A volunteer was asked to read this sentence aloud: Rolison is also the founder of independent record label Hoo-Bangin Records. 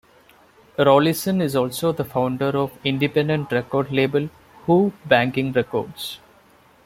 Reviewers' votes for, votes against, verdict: 1, 2, rejected